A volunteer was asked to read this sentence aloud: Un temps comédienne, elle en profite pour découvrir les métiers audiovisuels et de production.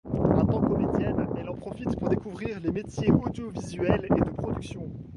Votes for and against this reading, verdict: 1, 2, rejected